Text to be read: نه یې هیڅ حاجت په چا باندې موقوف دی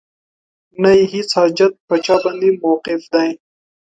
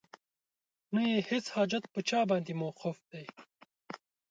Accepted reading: first